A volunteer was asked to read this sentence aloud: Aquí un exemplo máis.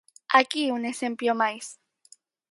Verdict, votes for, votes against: rejected, 2, 4